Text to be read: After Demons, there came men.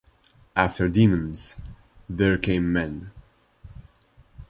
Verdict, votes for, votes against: accepted, 2, 1